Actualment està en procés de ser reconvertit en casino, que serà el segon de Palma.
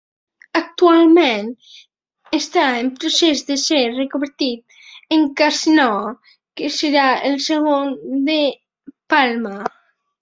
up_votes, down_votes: 2, 0